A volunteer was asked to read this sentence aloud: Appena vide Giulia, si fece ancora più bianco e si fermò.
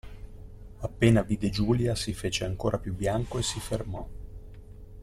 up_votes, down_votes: 2, 0